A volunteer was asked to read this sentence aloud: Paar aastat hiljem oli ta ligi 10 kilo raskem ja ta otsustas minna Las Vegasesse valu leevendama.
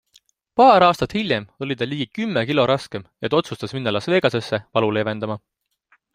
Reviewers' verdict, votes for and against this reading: rejected, 0, 2